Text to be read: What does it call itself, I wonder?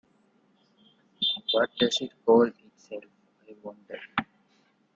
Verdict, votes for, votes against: rejected, 0, 2